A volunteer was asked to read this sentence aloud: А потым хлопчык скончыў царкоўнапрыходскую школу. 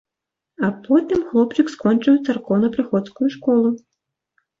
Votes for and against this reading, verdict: 2, 0, accepted